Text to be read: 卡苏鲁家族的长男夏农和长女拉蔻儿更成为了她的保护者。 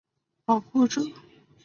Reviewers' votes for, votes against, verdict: 0, 5, rejected